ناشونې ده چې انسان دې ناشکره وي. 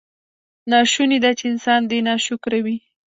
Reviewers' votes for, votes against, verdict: 1, 2, rejected